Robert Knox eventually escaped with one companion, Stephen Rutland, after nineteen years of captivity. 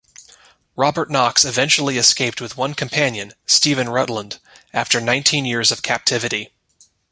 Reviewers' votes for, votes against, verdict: 2, 0, accepted